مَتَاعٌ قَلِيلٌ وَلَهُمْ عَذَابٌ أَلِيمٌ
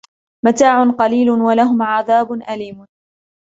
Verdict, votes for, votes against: accepted, 2, 0